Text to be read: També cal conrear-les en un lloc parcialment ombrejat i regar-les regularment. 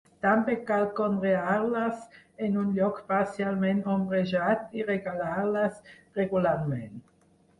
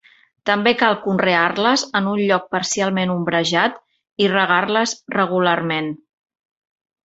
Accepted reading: second